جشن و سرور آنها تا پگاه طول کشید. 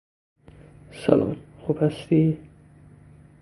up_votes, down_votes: 0, 2